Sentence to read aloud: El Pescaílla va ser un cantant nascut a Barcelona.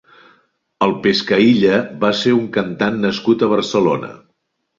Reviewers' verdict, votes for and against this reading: accepted, 3, 0